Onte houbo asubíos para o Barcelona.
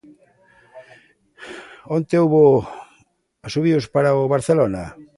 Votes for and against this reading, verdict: 2, 1, accepted